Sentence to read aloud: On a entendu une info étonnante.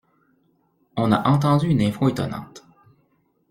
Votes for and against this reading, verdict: 2, 1, accepted